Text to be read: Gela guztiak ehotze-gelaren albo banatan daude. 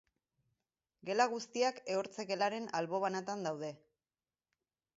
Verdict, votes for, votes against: rejected, 2, 4